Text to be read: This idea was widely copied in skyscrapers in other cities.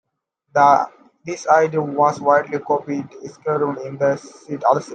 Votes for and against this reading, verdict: 0, 2, rejected